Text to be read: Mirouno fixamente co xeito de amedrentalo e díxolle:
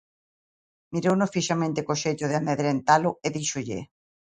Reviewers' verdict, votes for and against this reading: accepted, 2, 0